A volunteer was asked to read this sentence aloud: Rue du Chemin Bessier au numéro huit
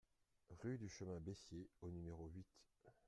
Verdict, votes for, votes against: accepted, 2, 0